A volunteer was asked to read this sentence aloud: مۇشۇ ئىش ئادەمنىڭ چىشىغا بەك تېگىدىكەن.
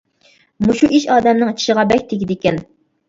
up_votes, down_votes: 2, 0